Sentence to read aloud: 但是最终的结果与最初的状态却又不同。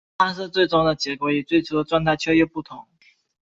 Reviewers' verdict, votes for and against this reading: accepted, 2, 0